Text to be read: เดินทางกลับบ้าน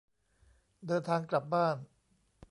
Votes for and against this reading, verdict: 1, 2, rejected